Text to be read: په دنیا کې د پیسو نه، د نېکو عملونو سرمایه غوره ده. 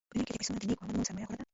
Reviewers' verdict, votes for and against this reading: rejected, 1, 2